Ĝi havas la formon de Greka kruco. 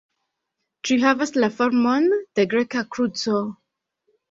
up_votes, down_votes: 2, 0